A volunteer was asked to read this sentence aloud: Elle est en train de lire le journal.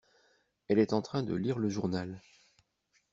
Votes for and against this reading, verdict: 2, 0, accepted